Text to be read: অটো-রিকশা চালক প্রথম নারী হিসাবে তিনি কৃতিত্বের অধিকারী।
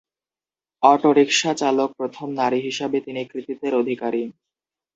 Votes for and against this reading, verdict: 0, 2, rejected